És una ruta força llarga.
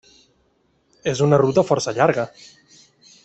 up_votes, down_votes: 3, 0